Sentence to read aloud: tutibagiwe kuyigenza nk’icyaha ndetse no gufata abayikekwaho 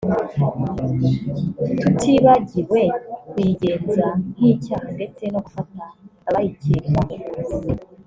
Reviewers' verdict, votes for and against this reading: accepted, 2, 1